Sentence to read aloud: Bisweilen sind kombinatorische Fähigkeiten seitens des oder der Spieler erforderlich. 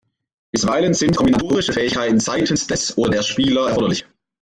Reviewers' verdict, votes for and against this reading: accepted, 2, 1